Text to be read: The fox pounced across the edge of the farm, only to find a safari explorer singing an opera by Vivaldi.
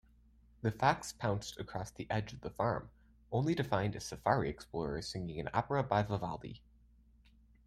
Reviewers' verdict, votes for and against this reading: accepted, 2, 0